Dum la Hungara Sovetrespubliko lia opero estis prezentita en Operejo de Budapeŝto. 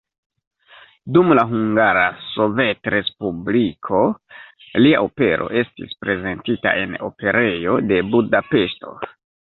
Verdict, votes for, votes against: accepted, 2, 0